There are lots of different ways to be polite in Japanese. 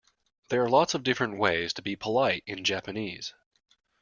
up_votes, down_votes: 2, 0